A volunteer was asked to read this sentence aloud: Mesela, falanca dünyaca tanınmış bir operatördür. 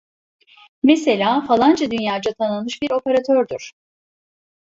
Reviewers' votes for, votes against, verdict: 1, 2, rejected